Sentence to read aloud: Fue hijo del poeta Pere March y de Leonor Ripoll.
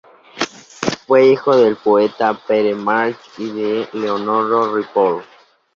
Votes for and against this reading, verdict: 0, 2, rejected